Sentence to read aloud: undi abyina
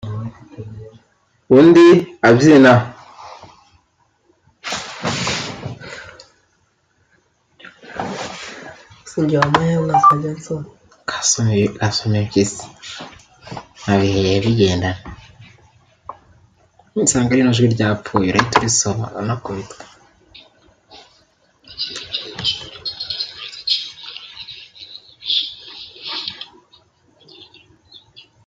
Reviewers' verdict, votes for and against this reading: rejected, 0, 2